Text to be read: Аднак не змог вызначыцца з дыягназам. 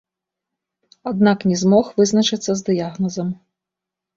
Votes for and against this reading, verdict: 1, 2, rejected